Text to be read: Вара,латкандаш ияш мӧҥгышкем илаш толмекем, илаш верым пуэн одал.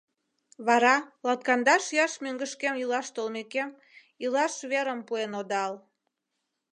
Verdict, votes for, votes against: accepted, 3, 0